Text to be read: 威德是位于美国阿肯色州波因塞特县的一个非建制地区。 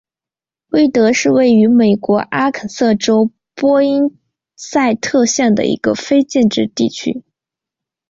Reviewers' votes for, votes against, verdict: 2, 0, accepted